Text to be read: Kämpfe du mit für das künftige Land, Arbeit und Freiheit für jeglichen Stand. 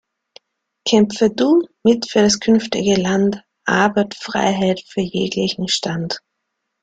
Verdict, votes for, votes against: rejected, 1, 2